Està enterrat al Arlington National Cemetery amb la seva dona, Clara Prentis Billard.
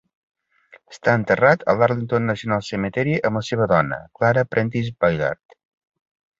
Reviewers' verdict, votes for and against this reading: accepted, 2, 0